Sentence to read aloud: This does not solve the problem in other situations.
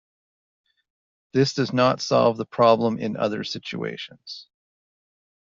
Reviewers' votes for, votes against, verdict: 2, 0, accepted